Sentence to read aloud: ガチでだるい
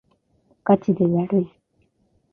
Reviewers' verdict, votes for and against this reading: rejected, 0, 2